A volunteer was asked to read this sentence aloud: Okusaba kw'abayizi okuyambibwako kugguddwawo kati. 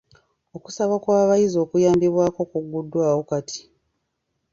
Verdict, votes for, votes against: rejected, 1, 2